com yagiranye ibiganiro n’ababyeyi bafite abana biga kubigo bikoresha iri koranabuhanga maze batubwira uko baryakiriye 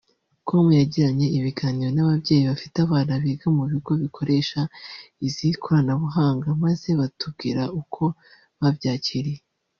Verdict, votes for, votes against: rejected, 1, 2